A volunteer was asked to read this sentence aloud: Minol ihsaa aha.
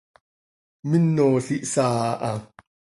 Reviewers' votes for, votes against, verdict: 2, 0, accepted